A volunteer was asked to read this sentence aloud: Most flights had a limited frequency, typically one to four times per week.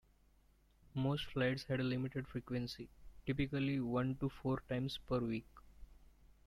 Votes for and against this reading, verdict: 0, 3, rejected